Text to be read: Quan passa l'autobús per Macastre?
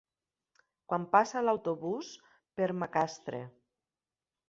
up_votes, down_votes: 3, 2